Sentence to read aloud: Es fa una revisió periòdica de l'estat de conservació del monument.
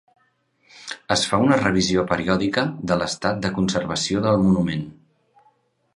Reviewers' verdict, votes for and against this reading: accepted, 3, 0